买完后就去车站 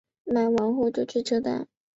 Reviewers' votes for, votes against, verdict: 3, 0, accepted